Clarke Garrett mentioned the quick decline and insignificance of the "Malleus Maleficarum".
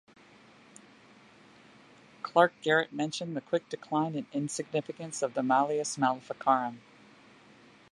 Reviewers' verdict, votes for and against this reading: accepted, 2, 0